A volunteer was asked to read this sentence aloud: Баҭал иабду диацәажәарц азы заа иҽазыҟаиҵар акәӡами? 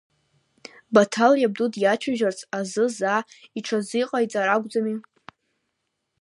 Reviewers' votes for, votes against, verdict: 3, 0, accepted